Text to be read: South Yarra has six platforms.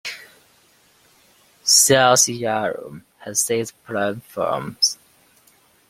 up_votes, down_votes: 1, 2